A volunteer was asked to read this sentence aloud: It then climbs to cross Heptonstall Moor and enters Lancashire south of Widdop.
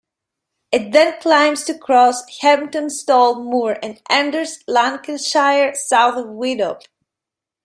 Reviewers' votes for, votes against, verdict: 2, 0, accepted